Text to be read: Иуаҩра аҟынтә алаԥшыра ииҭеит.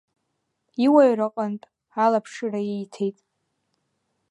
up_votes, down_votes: 2, 0